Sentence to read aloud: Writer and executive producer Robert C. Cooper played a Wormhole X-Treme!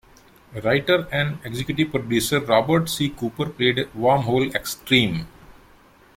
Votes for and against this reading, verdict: 2, 0, accepted